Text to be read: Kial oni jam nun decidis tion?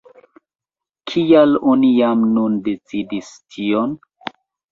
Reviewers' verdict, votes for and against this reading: rejected, 0, 2